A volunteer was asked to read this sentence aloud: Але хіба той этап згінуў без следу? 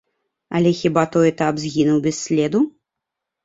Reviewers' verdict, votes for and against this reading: accepted, 2, 0